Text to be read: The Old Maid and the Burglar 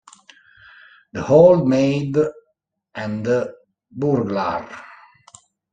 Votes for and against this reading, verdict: 1, 2, rejected